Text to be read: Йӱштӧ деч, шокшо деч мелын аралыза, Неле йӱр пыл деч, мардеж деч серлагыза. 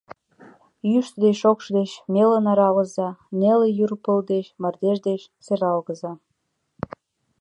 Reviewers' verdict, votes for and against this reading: accepted, 2, 1